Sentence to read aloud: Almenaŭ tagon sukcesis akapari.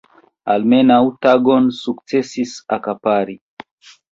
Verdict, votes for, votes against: accepted, 2, 0